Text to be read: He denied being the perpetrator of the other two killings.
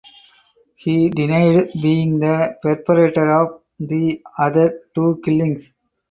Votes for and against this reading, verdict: 4, 0, accepted